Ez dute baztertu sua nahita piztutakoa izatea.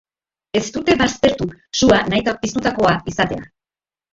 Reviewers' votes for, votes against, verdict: 1, 3, rejected